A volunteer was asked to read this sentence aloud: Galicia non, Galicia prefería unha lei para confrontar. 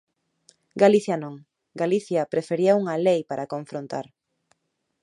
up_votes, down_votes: 2, 0